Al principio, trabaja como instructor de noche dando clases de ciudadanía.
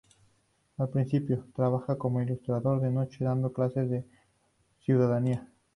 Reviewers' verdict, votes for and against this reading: rejected, 2, 2